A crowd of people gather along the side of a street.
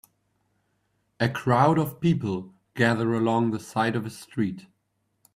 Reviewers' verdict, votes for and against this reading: accepted, 2, 0